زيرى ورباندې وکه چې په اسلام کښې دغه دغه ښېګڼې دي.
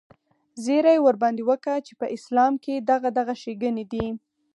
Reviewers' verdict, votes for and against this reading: accepted, 4, 0